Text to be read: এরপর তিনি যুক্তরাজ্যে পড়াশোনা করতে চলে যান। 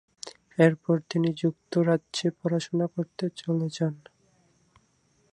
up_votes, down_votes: 2, 2